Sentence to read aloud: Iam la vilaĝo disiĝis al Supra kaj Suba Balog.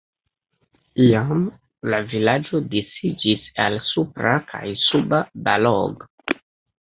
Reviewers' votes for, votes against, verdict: 1, 2, rejected